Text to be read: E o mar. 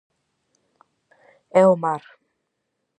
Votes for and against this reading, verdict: 4, 0, accepted